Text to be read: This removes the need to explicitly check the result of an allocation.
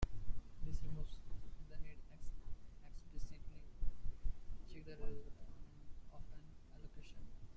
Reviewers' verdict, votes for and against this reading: rejected, 0, 2